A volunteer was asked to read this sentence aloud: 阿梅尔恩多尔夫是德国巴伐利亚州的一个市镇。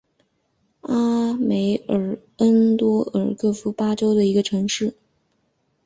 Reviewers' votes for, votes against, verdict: 0, 3, rejected